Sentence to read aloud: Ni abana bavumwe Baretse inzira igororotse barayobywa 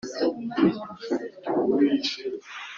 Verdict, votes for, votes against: rejected, 0, 2